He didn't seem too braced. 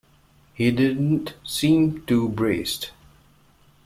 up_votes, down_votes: 2, 0